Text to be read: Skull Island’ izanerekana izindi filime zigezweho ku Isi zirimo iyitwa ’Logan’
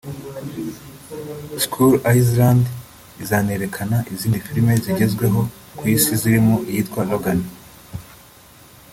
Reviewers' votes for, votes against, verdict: 1, 2, rejected